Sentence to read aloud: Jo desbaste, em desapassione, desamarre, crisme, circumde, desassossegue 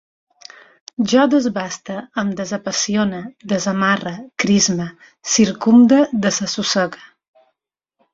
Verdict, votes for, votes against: accepted, 2, 0